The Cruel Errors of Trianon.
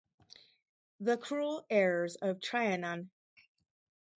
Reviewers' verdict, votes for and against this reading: rejected, 0, 2